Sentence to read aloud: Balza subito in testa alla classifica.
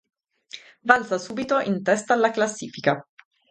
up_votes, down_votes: 2, 2